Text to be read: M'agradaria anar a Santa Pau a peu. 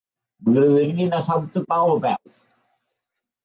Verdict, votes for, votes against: rejected, 1, 2